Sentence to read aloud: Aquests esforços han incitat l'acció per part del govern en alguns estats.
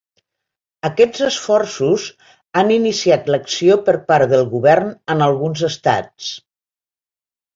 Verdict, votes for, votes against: rejected, 1, 2